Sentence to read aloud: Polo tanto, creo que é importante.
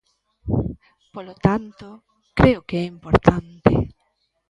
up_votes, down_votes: 2, 0